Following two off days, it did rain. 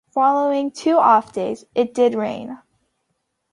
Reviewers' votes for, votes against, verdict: 2, 0, accepted